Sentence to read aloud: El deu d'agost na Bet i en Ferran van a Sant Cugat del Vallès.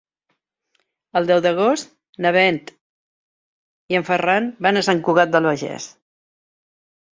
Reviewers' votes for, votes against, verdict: 1, 3, rejected